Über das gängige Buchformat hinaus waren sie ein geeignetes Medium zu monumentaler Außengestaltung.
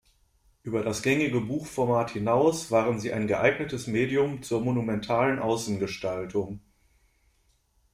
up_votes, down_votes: 1, 2